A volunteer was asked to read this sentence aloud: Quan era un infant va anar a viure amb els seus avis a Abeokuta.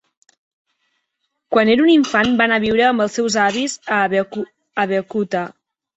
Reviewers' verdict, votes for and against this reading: accepted, 3, 1